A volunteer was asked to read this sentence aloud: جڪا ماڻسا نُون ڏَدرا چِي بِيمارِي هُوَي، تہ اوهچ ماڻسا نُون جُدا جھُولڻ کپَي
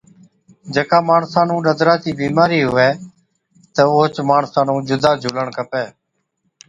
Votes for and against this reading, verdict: 2, 0, accepted